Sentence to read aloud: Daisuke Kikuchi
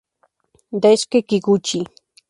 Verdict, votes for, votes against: accepted, 2, 0